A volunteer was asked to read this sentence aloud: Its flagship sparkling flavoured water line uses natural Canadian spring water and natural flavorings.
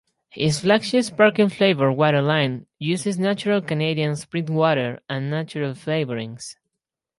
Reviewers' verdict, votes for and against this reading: rejected, 0, 4